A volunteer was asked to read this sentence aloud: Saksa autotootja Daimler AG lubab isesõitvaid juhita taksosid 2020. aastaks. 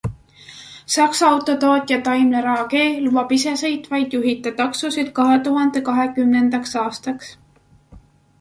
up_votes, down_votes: 0, 2